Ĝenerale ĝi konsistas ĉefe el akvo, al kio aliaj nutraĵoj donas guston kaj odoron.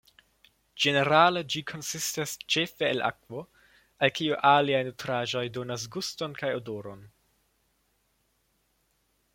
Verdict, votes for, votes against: accepted, 2, 0